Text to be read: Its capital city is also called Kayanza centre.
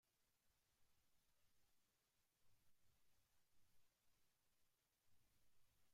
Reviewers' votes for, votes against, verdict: 1, 2, rejected